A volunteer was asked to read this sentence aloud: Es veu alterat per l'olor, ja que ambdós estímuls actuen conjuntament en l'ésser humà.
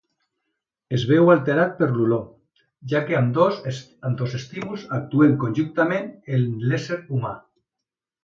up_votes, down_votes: 0, 2